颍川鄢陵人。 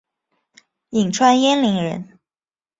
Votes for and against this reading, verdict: 3, 2, accepted